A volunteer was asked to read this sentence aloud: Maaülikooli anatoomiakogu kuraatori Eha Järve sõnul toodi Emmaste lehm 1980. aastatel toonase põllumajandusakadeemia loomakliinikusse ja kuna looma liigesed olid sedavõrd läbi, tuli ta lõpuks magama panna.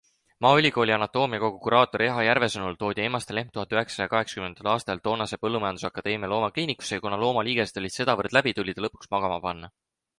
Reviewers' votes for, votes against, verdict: 0, 2, rejected